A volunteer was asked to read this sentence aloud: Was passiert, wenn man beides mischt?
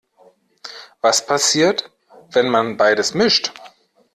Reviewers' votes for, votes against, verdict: 2, 0, accepted